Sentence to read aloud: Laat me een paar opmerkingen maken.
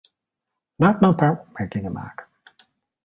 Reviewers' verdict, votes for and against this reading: rejected, 1, 2